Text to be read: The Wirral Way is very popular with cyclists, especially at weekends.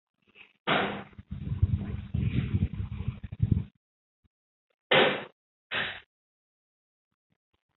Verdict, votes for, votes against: rejected, 0, 2